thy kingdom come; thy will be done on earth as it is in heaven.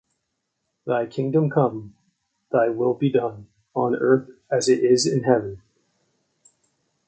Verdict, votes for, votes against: accepted, 2, 0